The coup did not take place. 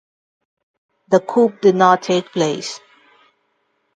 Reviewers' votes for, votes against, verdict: 0, 2, rejected